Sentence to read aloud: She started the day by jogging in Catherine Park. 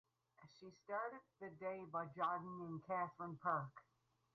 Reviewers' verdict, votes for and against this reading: accepted, 4, 2